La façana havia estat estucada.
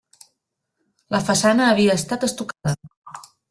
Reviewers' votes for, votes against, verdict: 1, 2, rejected